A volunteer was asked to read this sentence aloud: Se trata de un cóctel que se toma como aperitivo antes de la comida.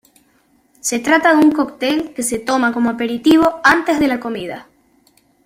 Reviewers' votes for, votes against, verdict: 2, 0, accepted